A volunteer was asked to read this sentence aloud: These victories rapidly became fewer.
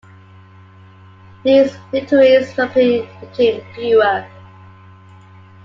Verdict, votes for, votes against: rejected, 1, 2